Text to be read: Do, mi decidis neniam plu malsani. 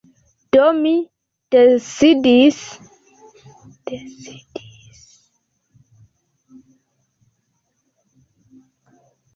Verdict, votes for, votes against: accepted, 2, 1